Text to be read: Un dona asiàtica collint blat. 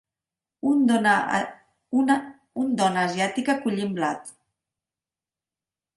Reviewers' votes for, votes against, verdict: 0, 2, rejected